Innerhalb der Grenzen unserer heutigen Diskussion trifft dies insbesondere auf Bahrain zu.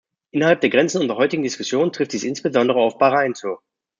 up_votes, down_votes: 2, 0